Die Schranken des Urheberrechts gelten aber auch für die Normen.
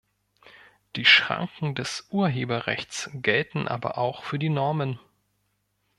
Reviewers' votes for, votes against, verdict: 2, 0, accepted